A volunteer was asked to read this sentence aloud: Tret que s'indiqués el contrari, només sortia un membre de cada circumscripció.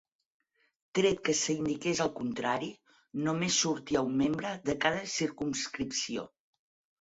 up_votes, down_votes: 4, 0